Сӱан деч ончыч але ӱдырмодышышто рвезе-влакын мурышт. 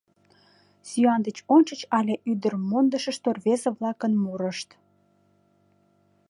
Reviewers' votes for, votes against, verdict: 2, 1, accepted